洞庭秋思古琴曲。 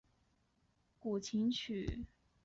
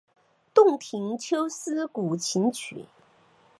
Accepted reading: second